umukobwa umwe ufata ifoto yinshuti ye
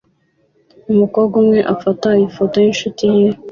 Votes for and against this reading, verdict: 2, 0, accepted